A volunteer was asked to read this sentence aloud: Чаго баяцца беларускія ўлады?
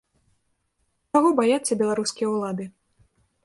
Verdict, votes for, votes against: rejected, 0, 2